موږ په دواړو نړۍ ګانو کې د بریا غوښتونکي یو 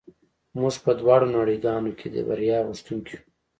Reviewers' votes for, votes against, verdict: 2, 0, accepted